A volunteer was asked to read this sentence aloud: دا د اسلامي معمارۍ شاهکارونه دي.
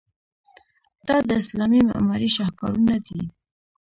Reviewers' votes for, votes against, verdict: 0, 2, rejected